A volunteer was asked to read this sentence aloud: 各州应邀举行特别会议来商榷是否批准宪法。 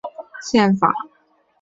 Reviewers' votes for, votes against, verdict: 1, 6, rejected